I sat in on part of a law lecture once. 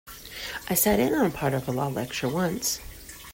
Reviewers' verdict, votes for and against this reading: accepted, 2, 0